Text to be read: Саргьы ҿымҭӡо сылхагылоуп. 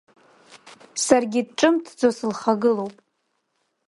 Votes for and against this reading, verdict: 2, 1, accepted